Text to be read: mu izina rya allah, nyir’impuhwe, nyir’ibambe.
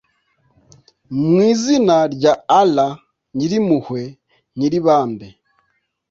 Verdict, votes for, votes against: accepted, 2, 0